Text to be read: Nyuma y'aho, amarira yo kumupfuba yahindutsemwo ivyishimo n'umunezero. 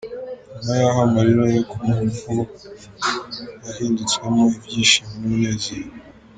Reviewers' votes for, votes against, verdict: 0, 2, rejected